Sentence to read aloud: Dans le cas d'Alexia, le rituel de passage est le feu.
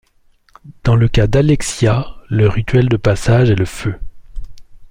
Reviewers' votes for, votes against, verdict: 2, 0, accepted